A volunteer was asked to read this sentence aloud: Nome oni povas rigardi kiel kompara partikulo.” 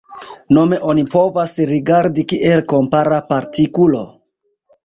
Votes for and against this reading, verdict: 2, 0, accepted